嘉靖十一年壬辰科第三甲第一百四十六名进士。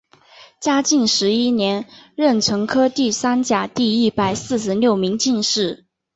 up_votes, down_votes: 2, 0